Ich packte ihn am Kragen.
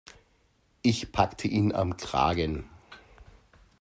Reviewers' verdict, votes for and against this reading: accepted, 2, 0